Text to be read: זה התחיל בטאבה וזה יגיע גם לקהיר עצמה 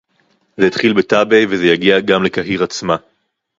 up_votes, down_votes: 2, 4